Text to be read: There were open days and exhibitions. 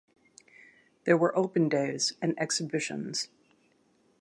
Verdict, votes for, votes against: accepted, 2, 0